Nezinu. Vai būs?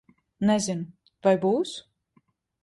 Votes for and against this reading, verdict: 2, 0, accepted